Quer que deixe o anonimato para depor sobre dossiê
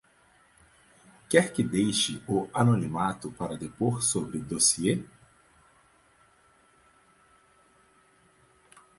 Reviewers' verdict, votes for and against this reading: rejected, 2, 4